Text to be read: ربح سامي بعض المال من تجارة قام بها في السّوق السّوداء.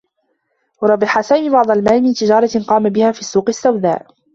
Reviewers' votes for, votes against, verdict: 2, 0, accepted